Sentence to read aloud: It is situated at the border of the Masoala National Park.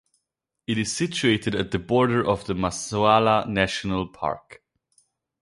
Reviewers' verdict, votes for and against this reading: accepted, 4, 0